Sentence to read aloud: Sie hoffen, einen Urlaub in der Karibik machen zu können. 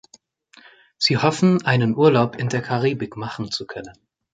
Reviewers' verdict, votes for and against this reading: accepted, 3, 0